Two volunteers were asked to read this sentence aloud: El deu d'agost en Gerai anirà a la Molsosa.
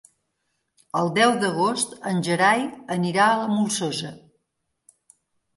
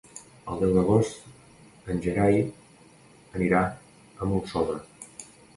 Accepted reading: first